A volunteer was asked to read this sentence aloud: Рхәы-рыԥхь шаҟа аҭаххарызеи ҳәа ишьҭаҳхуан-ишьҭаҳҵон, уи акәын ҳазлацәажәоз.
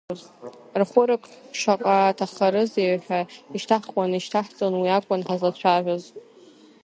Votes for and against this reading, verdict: 0, 2, rejected